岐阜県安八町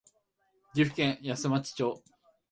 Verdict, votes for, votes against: rejected, 1, 2